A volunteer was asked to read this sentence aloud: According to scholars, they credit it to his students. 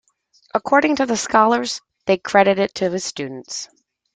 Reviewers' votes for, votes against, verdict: 1, 2, rejected